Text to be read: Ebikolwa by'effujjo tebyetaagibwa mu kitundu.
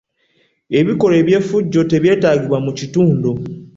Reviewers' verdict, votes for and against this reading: accepted, 2, 0